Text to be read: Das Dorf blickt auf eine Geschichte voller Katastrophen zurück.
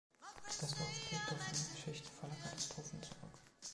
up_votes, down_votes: 0, 2